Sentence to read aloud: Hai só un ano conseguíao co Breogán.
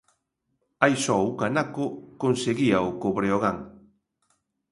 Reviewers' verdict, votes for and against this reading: rejected, 0, 2